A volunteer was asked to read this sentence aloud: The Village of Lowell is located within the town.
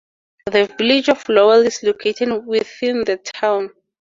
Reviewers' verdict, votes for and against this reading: accepted, 2, 0